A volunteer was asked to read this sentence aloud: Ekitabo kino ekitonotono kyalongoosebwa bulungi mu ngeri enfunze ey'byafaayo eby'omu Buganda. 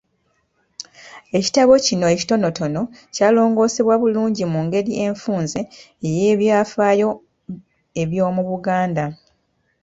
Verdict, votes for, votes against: rejected, 1, 2